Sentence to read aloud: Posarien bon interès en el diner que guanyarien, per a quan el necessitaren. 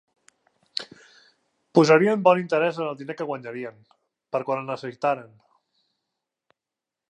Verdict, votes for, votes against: accepted, 2, 0